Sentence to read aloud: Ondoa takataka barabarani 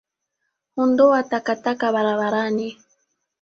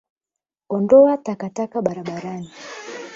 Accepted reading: first